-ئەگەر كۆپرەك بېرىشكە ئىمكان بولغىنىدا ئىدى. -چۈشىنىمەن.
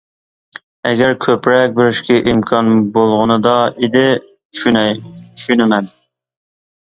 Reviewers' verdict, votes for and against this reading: rejected, 0, 2